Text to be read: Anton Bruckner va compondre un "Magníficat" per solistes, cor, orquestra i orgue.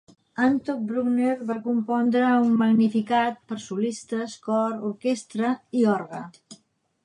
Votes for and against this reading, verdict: 1, 2, rejected